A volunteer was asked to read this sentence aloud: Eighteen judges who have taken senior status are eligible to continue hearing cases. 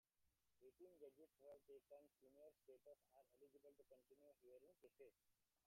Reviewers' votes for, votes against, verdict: 0, 2, rejected